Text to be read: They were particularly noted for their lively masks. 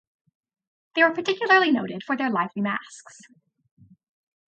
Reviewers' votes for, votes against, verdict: 2, 0, accepted